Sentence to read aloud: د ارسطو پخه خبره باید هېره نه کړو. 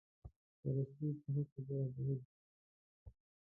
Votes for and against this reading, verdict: 1, 2, rejected